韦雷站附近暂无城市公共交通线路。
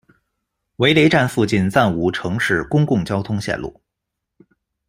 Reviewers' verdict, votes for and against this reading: accepted, 2, 1